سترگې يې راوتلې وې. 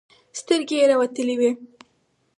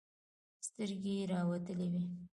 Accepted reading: first